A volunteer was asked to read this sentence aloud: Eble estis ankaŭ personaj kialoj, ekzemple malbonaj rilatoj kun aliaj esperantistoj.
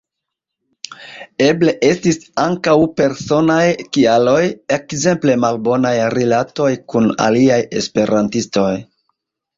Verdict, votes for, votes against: rejected, 0, 2